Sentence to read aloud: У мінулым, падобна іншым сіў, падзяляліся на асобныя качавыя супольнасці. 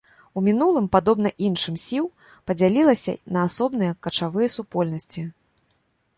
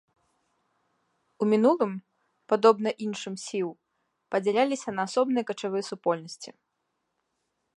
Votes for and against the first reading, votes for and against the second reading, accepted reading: 1, 2, 2, 0, second